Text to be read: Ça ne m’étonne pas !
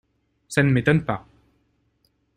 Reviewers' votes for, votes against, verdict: 2, 0, accepted